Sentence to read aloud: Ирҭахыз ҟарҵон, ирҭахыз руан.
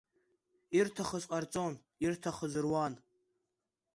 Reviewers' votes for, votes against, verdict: 2, 0, accepted